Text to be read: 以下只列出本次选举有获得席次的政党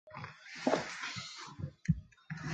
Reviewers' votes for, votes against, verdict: 1, 2, rejected